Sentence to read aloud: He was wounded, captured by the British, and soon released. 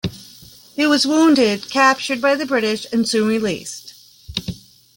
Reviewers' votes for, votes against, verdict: 3, 1, accepted